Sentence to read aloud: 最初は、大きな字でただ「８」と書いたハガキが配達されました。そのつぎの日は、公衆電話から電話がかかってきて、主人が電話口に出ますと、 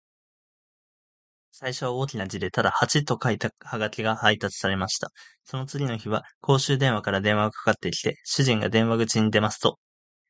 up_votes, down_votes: 0, 2